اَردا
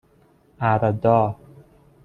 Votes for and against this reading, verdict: 2, 1, accepted